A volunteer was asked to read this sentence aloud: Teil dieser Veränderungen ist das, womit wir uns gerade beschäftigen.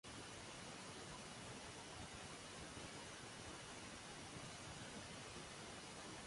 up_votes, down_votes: 0, 3